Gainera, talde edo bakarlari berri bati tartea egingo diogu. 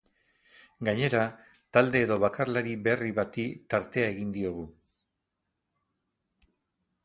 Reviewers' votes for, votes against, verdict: 10, 4, accepted